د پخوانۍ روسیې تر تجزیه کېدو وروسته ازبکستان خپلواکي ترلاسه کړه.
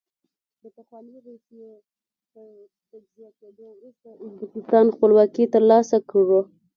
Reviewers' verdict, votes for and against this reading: accepted, 2, 0